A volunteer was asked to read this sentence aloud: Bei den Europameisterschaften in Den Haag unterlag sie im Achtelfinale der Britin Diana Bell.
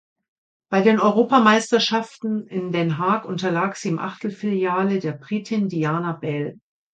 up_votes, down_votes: 1, 2